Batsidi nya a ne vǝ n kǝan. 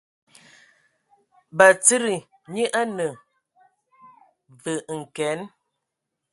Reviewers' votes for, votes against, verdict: 2, 1, accepted